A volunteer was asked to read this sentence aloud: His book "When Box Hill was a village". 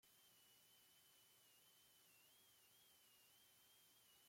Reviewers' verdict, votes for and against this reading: rejected, 0, 2